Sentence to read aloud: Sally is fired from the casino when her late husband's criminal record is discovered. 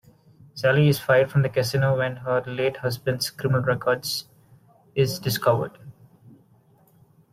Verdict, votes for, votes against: accepted, 2, 0